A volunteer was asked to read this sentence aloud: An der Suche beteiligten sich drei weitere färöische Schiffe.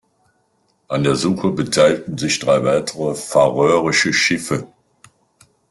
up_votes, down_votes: 0, 2